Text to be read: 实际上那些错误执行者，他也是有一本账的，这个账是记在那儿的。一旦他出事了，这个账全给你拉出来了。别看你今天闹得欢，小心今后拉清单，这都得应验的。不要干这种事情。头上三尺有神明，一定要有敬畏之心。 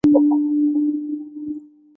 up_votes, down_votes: 2, 3